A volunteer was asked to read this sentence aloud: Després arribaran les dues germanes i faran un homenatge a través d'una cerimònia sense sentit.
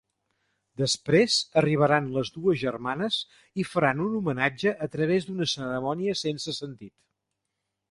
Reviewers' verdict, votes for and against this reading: rejected, 0, 2